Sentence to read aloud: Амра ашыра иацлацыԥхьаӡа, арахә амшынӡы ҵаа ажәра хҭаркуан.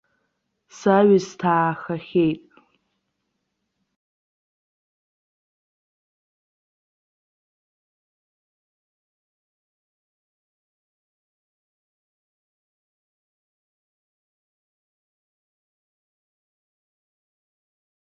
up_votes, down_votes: 0, 2